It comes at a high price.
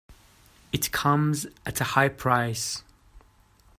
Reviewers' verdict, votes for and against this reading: accepted, 2, 0